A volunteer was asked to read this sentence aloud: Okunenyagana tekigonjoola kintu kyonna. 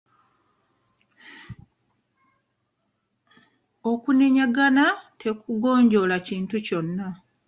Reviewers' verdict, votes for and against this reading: accepted, 2, 0